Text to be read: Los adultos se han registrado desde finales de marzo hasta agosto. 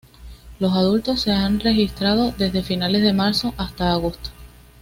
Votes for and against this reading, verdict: 2, 0, accepted